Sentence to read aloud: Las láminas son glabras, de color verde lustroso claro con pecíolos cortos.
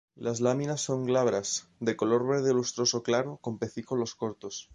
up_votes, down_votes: 0, 2